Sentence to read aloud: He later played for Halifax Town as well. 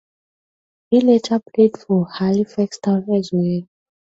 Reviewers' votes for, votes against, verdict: 2, 0, accepted